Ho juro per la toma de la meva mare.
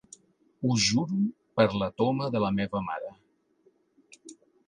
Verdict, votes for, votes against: accepted, 3, 0